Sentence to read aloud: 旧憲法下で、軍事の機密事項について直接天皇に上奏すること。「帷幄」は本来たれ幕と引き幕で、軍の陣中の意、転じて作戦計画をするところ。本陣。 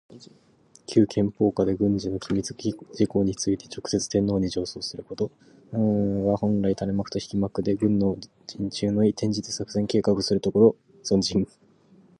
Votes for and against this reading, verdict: 0, 2, rejected